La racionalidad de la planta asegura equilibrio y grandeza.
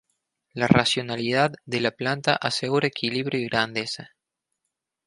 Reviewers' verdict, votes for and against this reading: rejected, 0, 2